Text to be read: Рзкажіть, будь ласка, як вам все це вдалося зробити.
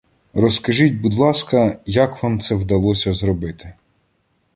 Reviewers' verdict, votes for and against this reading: rejected, 1, 2